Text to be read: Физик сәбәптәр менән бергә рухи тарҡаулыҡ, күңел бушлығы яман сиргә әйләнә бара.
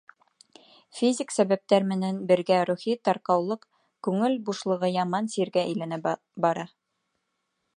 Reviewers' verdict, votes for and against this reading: rejected, 1, 2